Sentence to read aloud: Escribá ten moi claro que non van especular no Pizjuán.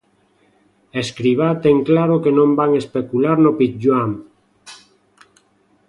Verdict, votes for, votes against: rejected, 0, 2